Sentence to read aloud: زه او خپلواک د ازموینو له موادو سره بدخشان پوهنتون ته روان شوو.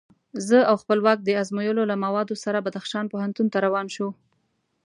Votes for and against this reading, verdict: 2, 0, accepted